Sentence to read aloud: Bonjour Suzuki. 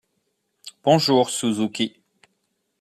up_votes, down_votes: 2, 0